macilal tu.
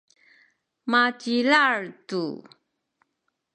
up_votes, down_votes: 0, 2